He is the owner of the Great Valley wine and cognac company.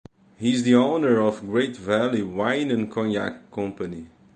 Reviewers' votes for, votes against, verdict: 0, 2, rejected